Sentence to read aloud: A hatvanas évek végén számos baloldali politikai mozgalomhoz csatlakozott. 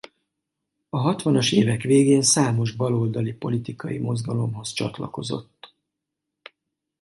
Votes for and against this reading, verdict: 4, 0, accepted